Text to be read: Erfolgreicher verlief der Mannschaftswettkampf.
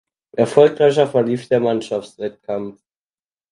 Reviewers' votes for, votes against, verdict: 4, 2, accepted